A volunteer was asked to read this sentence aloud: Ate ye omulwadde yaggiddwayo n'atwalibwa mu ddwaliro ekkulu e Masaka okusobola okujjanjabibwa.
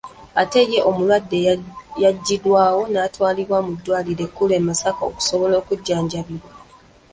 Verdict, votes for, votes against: rejected, 0, 2